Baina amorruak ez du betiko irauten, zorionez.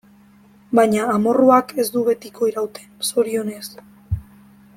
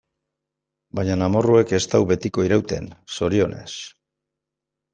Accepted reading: first